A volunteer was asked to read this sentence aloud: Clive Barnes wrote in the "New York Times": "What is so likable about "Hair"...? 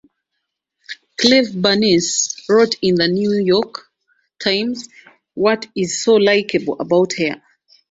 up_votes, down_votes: 1, 2